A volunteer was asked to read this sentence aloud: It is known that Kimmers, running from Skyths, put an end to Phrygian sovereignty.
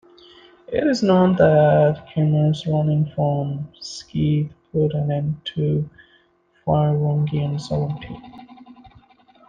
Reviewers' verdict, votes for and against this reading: rejected, 0, 2